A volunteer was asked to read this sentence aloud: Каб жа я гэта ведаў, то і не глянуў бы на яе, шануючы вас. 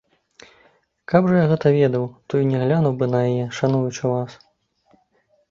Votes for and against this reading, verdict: 2, 0, accepted